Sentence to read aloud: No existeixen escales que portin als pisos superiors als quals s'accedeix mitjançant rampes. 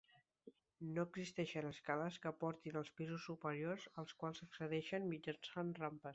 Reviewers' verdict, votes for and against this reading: rejected, 1, 2